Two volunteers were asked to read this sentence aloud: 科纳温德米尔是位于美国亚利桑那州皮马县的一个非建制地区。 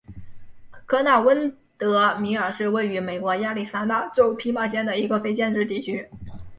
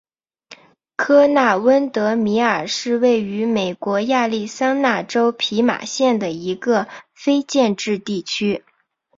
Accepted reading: second